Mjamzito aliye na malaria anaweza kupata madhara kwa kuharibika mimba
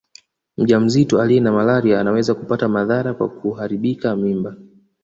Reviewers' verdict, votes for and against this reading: accepted, 2, 0